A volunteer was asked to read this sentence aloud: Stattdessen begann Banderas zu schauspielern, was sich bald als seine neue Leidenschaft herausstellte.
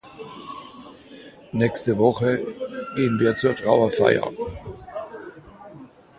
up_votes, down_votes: 0, 2